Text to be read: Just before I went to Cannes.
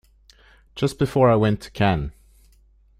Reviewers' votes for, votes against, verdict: 2, 0, accepted